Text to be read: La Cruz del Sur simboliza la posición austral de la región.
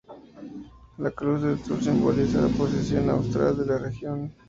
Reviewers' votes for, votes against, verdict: 2, 0, accepted